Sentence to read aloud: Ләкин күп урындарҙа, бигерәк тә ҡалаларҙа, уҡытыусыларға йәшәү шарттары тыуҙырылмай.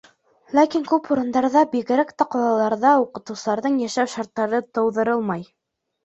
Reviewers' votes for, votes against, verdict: 2, 3, rejected